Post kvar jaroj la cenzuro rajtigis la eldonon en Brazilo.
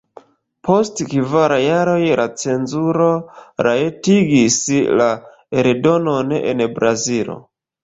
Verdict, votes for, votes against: rejected, 1, 3